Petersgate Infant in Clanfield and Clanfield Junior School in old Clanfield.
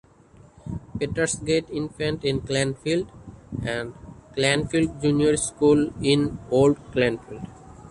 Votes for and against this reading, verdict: 1, 2, rejected